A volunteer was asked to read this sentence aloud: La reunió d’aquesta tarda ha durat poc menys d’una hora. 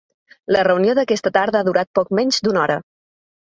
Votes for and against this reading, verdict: 3, 0, accepted